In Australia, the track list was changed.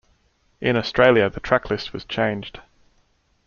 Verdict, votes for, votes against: accepted, 2, 0